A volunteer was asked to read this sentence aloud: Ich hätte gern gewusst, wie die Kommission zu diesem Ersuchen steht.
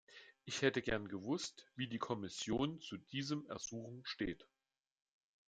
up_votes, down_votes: 2, 0